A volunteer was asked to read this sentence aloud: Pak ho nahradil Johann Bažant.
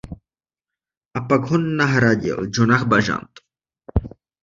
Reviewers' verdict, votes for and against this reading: rejected, 0, 2